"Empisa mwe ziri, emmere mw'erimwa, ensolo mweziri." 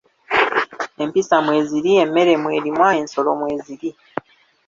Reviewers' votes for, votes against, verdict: 0, 2, rejected